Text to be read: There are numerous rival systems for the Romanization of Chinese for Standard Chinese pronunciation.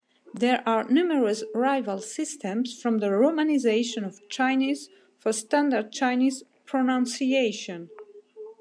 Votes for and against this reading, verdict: 2, 0, accepted